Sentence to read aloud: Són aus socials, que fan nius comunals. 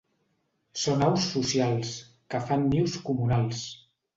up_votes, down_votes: 2, 0